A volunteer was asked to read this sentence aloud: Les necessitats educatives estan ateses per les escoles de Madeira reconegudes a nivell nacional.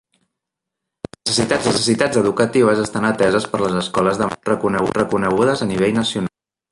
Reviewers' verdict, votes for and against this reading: rejected, 0, 2